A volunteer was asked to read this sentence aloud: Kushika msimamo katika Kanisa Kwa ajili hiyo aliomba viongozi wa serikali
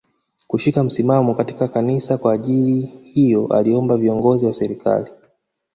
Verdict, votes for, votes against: accepted, 2, 0